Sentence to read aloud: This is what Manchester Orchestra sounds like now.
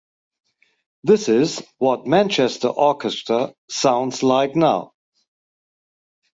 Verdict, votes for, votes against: accepted, 4, 0